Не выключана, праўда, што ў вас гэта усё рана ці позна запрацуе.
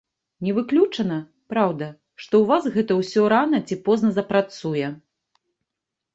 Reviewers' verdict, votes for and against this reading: rejected, 1, 2